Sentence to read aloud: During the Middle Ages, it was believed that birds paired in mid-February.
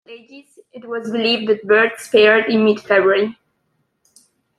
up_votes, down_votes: 0, 2